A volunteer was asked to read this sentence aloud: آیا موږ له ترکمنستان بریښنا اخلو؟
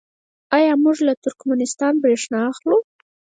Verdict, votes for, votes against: rejected, 2, 4